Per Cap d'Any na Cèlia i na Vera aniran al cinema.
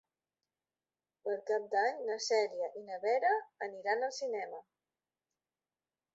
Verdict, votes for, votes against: accepted, 2, 0